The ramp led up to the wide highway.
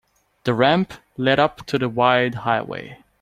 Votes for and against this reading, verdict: 2, 0, accepted